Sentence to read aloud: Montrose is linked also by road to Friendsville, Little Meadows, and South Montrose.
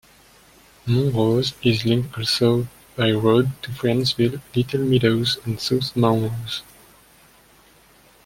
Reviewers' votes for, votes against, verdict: 0, 2, rejected